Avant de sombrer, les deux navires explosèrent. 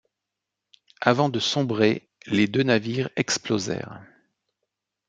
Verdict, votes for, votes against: accepted, 2, 0